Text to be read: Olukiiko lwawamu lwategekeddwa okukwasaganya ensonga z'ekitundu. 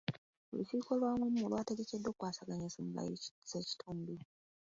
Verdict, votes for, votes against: accepted, 2, 0